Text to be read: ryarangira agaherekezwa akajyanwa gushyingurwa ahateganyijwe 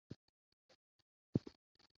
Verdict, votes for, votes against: rejected, 0, 2